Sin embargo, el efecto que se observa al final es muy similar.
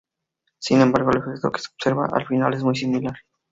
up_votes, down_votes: 2, 2